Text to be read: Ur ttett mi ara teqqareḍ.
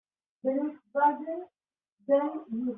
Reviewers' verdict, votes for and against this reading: rejected, 0, 2